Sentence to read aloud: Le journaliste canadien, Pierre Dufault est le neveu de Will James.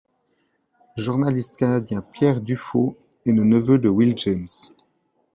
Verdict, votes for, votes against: rejected, 0, 2